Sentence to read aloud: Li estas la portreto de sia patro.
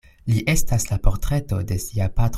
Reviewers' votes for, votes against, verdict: 0, 2, rejected